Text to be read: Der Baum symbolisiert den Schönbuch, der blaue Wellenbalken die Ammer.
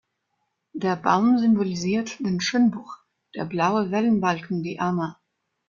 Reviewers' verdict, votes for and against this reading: accepted, 2, 0